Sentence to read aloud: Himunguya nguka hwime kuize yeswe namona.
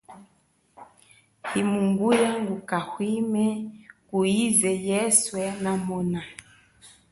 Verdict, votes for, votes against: accepted, 2, 0